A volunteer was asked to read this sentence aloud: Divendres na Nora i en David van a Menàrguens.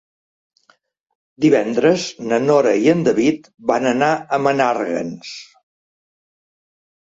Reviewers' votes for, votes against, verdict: 0, 2, rejected